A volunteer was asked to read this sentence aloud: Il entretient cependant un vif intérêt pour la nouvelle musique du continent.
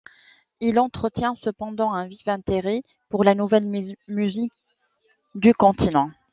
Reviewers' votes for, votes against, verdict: 1, 2, rejected